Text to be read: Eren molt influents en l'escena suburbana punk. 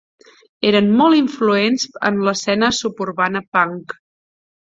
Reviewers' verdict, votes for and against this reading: accepted, 3, 0